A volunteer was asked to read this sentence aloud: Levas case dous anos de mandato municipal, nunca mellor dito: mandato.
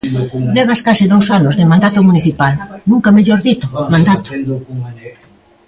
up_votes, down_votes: 0, 2